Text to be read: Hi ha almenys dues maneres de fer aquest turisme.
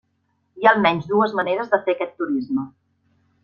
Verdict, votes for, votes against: accepted, 3, 0